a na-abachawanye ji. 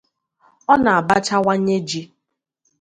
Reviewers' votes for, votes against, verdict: 2, 0, accepted